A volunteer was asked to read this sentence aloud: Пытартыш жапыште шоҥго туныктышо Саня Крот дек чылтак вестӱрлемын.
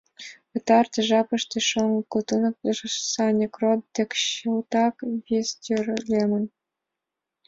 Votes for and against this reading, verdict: 1, 2, rejected